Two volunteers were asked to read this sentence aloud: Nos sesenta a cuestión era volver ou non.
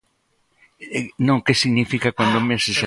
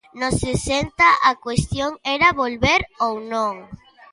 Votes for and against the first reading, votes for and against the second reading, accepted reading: 0, 2, 2, 0, second